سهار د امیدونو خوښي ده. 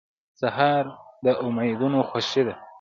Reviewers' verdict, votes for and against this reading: accepted, 2, 0